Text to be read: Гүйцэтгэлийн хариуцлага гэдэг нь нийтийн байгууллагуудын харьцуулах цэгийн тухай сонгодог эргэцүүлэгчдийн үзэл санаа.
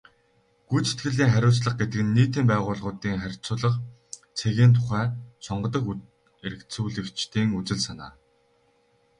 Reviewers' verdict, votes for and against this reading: rejected, 0, 2